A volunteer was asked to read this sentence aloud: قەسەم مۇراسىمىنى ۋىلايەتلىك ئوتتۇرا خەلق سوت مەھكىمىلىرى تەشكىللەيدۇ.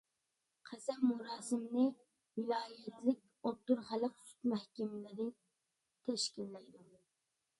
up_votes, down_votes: 0, 2